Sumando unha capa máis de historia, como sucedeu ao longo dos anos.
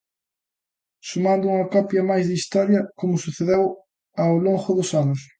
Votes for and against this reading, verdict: 0, 2, rejected